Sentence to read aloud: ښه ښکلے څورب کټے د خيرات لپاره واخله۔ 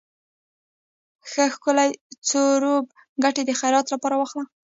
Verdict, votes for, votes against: rejected, 1, 2